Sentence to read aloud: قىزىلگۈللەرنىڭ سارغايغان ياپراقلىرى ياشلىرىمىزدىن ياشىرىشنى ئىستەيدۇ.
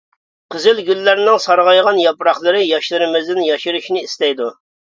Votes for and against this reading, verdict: 2, 0, accepted